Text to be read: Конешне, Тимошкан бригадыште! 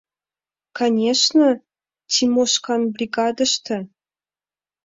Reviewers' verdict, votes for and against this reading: accepted, 2, 0